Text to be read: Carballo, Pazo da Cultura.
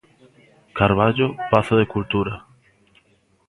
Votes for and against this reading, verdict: 0, 2, rejected